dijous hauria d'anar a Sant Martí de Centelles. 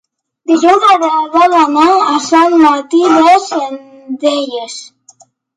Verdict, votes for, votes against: rejected, 0, 3